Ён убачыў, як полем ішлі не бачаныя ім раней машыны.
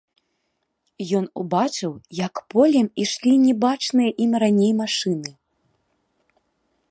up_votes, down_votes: 2, 1